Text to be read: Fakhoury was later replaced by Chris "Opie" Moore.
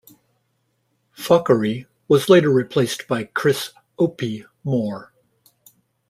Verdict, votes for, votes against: rejected, 1, 2